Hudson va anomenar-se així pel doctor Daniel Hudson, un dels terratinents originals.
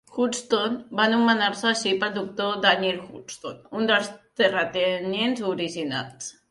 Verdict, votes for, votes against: rejected, 0, 2